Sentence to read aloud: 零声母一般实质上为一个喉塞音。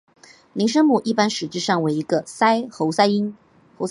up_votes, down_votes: 2, 5